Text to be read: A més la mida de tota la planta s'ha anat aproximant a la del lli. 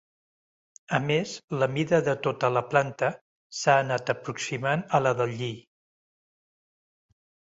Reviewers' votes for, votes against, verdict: 2, 0, accepted